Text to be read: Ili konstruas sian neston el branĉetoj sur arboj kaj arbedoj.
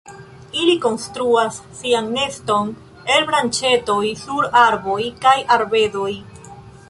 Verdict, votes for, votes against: accepted, 2, 0